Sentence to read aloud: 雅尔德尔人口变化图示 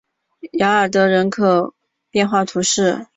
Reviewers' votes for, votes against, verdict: 3, 0, accepted